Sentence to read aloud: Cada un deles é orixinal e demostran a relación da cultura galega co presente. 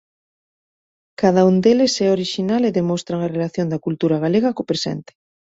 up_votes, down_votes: 2, 0